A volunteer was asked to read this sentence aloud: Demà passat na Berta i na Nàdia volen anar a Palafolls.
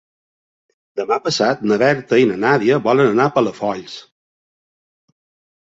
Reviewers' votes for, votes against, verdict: 3, 0, accepted